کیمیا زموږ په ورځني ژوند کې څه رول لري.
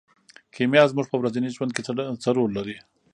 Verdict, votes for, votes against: accepted, 2, 0